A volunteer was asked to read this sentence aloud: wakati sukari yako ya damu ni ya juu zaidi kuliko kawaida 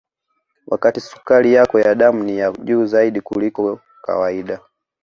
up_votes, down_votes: 2, 0